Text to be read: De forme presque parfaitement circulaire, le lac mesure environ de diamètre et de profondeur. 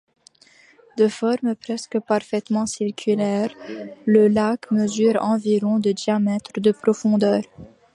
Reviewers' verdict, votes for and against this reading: rejected, 0, 2